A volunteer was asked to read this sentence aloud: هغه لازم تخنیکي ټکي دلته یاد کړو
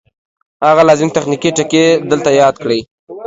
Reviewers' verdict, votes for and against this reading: rejected, 1, 2